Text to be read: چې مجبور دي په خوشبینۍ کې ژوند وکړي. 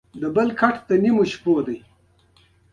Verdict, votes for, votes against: accepted, 2, 0